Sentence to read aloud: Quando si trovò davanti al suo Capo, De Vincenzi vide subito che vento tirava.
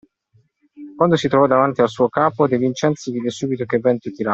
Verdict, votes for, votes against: rejected, 0, 2